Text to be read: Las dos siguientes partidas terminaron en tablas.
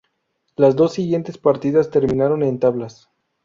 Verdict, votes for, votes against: rejected, 0, 2